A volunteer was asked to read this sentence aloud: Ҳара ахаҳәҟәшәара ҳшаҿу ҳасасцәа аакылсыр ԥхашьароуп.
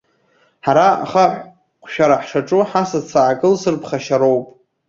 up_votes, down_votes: 1, 2